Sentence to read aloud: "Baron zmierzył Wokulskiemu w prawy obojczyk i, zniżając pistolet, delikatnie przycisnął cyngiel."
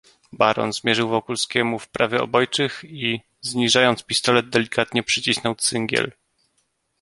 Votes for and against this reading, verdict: 2, 0, accepted